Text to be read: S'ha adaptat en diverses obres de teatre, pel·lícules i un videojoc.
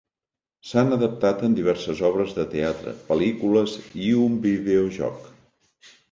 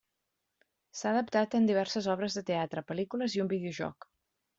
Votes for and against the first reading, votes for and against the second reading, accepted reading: 0, 2, 3, 0, second